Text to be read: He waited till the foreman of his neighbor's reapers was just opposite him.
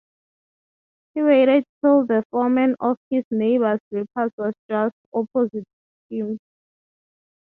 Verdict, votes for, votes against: rejected, 0, 3